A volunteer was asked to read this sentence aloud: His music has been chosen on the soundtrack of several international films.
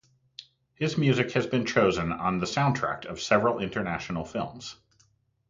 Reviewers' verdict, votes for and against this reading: rejected, 0, 2